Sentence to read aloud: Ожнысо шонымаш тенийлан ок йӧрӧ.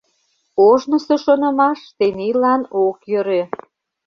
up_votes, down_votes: 2, 0